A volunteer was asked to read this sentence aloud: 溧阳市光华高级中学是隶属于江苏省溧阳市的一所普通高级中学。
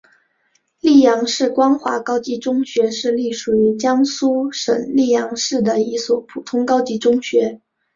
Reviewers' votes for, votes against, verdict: 2, 1, accepted